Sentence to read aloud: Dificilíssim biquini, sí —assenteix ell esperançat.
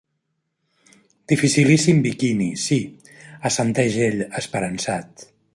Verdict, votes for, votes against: accepted, 2, 0